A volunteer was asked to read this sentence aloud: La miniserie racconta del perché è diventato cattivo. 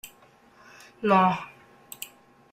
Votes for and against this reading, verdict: 0, 2, rejected